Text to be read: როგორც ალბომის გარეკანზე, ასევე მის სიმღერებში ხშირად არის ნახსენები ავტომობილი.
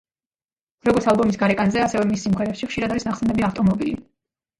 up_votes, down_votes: 2, 0